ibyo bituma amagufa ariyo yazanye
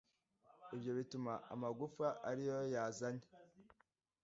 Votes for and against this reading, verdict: 2, 0, accepted